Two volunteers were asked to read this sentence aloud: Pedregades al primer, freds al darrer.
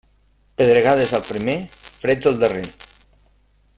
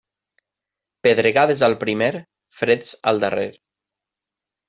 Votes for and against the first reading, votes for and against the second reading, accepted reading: 1, 2, 3, 0, second